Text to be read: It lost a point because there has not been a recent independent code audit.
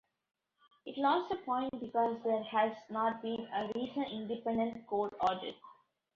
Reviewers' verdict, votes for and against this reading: rejected, 0, 2